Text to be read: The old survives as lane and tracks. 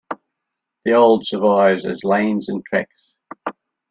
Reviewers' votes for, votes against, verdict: 0, 2, rejected